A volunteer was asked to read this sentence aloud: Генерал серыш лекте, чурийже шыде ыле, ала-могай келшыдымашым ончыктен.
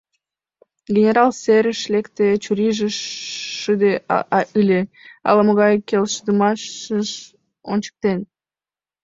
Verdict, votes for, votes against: rejected, 0, 2